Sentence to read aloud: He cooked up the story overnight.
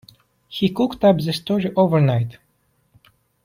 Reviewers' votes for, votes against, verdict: 2, 0, accepted